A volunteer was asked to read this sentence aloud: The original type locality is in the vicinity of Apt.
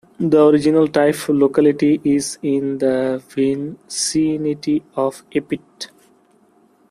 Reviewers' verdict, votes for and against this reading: rejected, 0, 2